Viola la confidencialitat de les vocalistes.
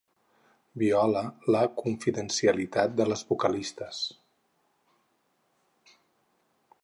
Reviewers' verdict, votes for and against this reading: accepted, 6, 0